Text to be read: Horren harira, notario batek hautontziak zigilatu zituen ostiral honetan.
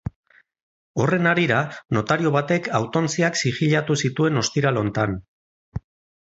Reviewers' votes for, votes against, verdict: 2, 4, rejected